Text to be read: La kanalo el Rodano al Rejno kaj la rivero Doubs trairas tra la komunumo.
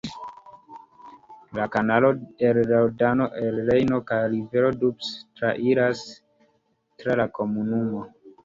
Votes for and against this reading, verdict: 2, 0, accepted